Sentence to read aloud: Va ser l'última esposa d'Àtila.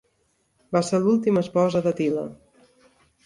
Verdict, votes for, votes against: rejected, 0, 2